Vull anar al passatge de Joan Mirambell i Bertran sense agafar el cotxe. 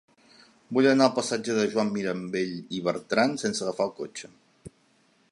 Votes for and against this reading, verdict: 2, 0, accepted